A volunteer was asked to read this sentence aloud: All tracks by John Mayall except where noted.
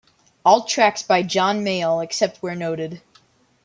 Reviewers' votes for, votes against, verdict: 1, 2, rejected